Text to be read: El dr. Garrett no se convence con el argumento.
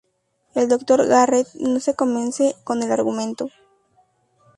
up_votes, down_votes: 2, 0